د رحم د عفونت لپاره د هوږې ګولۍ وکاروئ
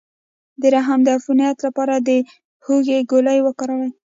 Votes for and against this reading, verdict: 1, 2, rejected